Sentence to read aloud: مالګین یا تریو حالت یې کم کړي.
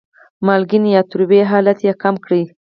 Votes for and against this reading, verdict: 0, 4, rejected